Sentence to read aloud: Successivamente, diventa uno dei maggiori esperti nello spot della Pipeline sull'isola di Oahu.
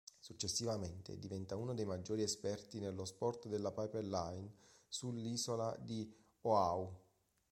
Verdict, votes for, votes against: rejected, 0, 2